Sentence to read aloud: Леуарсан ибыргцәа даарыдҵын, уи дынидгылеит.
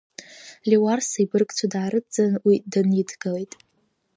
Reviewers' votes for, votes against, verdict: 1, 2, rejected